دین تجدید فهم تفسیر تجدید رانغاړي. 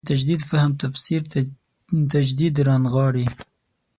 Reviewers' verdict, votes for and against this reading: rejected, 0, 6